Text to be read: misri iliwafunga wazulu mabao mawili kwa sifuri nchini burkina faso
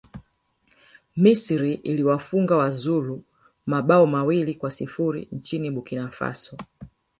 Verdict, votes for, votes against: rejected, 1, 2